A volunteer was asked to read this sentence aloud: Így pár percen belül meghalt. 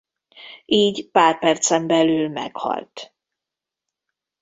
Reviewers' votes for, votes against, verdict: 2, 0, accepted